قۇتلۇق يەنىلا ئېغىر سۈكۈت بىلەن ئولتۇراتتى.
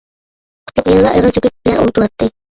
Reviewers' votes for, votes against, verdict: 0, 2, rejected